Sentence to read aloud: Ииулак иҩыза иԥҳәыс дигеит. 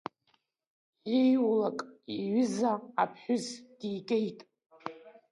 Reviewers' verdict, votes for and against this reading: rejected, 0, 2